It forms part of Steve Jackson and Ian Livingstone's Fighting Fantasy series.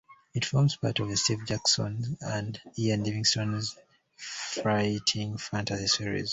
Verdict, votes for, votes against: rejected, 0, 2